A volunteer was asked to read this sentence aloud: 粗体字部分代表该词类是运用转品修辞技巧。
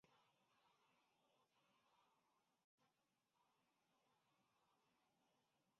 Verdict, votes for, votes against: rejected, 2, 7